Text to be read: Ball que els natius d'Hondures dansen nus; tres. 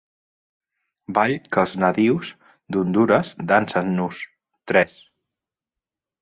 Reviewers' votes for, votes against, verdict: 2, 1, accepted